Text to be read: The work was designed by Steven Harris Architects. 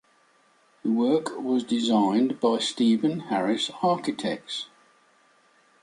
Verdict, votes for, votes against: accepted, 2, 0